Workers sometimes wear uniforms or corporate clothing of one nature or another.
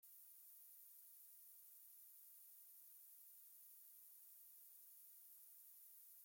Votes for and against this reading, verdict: 1, 2, rejected